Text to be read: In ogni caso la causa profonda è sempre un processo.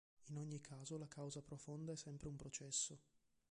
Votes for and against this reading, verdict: 0, 2, rejected